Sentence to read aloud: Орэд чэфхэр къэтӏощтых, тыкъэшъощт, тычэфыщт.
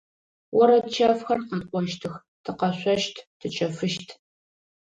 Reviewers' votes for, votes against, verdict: 2, 0, accepted